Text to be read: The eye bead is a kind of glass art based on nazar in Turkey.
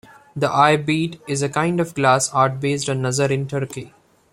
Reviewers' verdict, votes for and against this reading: accepted, 2, 0